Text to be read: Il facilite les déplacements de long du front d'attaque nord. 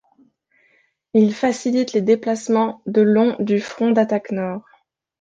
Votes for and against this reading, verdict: 2, 0, accepted